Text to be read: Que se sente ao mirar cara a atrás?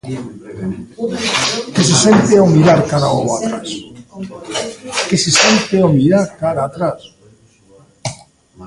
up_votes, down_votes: 0, 2